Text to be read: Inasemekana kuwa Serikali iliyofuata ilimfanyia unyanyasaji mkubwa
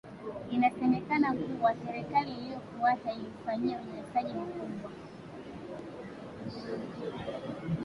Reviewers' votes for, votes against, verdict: 1, 2, rejected